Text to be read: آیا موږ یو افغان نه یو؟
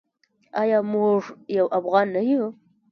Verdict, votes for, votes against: accepted, 2, 0